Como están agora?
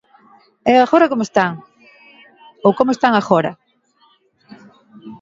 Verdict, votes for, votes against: rejected, 1, 2